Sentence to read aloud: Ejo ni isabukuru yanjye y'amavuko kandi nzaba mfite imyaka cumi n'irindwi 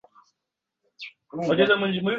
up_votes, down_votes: 0, 2